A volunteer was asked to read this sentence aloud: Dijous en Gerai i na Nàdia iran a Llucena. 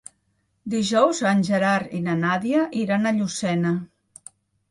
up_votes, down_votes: 1, 2